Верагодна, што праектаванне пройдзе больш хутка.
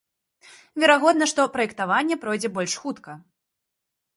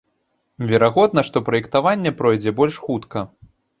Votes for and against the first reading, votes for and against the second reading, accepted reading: 2, 0, 1, 2, first